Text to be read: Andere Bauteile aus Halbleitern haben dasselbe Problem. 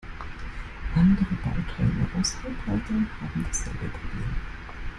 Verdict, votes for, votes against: rejected, 0, 2